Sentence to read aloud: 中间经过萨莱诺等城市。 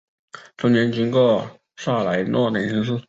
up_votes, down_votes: 2, 1